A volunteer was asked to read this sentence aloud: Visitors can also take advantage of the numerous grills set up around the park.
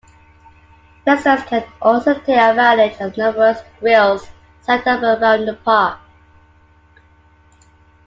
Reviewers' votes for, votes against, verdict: 0, 2, rejected